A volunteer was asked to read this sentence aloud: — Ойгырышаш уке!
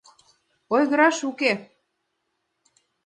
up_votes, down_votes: 0, 2